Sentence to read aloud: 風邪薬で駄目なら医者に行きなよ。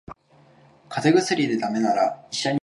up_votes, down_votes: 0, 2